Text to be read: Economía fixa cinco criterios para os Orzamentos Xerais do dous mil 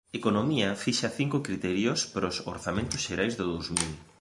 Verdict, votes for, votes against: accepted, 2, 0